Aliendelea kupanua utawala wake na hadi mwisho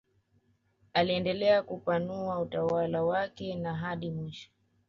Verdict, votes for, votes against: accepted, 2, 0